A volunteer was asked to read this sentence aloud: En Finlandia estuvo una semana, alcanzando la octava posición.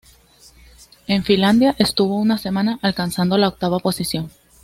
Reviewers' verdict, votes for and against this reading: accepted, 2, 0